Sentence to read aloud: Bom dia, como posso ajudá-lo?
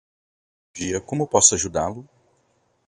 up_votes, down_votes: 2, 4